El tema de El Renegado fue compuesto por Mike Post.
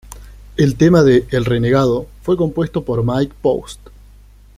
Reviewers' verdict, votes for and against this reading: accepted, 2, 0